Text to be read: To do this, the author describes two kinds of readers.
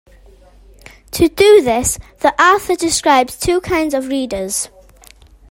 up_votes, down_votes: 2, 0